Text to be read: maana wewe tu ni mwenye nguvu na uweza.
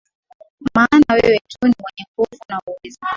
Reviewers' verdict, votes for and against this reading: rejected, 1, 2